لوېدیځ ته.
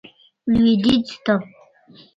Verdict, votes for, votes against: rejected, 1, 2